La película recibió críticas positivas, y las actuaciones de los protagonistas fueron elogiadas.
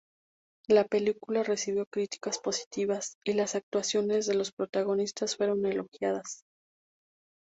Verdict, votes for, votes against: accepted, 2, 0